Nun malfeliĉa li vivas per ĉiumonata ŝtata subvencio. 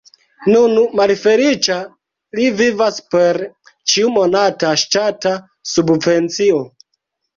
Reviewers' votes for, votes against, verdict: 0, 3, rejected